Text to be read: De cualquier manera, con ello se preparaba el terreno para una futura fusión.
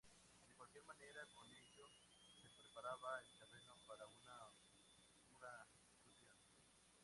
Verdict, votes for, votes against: rejected, 2, 2